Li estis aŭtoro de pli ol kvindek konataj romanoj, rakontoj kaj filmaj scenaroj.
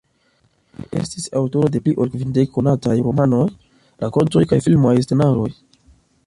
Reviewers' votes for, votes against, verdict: 0, 2, rejected